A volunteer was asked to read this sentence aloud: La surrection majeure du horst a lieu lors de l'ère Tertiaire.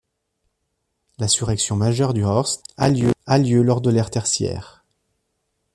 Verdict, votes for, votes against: rejected, 0, 2